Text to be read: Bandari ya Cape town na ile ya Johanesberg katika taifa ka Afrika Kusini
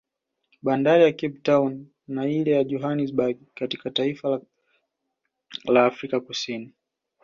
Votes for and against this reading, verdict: 2, 1, accepted